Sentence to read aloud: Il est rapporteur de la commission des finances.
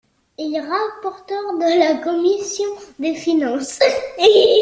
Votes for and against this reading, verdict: 2, 1, accepted